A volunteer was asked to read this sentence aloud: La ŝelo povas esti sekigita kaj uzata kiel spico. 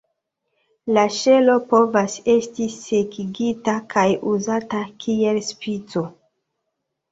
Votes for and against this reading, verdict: 2, 0, accepted